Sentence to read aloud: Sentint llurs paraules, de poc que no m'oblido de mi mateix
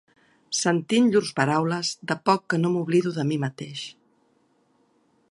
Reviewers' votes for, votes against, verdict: 4, 0, accepted